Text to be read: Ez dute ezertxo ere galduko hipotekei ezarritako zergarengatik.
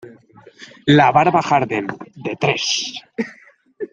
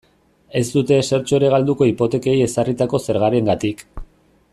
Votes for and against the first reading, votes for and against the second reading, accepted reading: 0, 2, 2, 0, second